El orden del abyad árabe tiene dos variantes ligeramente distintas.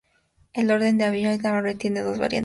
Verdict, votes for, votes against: rejected, 0, 2